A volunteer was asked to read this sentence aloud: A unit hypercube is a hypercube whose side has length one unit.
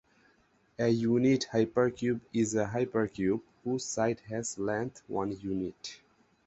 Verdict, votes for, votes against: accepted, 4, 0